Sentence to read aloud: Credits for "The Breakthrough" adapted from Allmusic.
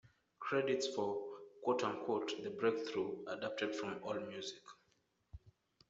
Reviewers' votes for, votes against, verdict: 1, 2, rejected